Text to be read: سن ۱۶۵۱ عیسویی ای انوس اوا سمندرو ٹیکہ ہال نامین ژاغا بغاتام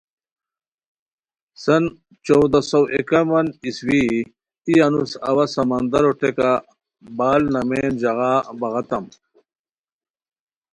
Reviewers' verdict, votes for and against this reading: rejected, 0, 2